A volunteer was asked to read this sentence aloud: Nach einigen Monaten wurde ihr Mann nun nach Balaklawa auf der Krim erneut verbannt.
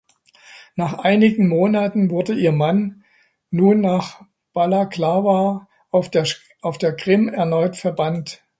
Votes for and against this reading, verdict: 0, 2, rejected